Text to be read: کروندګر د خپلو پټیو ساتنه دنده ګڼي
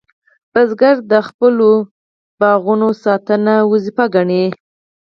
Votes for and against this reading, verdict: 2, 4, rejected